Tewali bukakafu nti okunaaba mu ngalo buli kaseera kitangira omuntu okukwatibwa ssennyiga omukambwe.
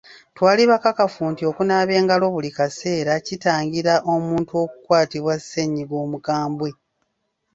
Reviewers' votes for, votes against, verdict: 1, 2, rejected